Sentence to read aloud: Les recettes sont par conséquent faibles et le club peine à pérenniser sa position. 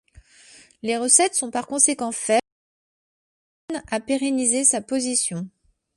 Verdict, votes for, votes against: rejected, 0, 2